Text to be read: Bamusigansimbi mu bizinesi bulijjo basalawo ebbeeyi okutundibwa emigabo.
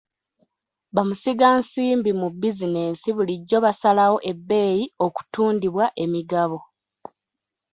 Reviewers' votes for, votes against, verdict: 1, 2, rejected